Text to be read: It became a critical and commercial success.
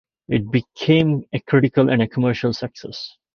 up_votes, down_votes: 2, 1